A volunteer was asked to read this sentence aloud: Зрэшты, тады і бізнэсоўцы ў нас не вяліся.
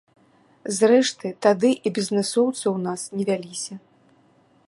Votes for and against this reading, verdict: 2, 0, accepted